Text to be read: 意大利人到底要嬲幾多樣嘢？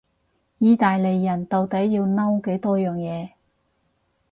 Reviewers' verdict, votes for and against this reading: accepted, 2, 0